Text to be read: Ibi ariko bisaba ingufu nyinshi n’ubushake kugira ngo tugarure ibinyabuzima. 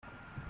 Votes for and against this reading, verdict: 0, 2, rejected